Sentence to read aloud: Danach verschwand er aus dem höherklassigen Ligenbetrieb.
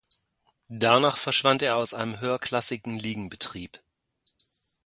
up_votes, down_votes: 0, 2